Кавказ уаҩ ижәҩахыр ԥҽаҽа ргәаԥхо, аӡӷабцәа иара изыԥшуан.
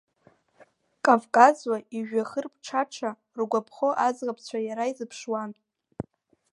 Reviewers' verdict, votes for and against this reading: accepted, 2, 1